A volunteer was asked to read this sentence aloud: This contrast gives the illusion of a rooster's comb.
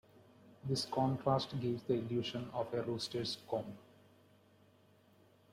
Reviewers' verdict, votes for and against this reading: accepted, 2, 0